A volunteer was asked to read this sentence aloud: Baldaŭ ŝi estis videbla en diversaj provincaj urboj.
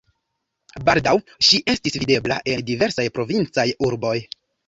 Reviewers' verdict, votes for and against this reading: rejected, 0, 2